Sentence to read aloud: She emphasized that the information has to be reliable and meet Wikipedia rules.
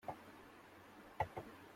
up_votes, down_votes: 0, 2